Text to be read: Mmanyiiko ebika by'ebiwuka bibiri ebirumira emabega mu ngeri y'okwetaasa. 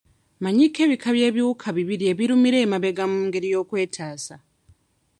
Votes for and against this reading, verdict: 3, 0, accepted